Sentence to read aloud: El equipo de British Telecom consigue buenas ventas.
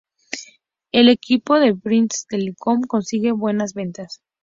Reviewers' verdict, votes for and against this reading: accepted, 2, 0